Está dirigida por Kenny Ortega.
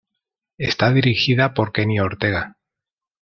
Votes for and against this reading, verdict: 2, 0, accepted